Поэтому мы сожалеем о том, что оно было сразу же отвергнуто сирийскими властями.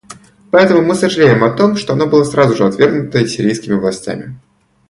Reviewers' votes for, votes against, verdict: 2, 0, accepted